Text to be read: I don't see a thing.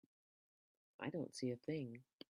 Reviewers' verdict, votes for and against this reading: rejected, 1, 2